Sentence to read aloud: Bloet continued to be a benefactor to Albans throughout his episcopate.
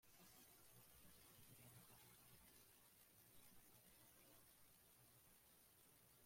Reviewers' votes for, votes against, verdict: 0, 2, rejected